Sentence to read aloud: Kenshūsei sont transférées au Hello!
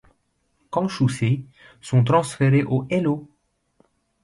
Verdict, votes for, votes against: accepted, 2, 0